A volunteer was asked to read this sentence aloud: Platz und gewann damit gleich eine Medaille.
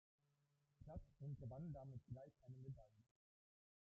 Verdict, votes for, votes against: rejected, 0, 2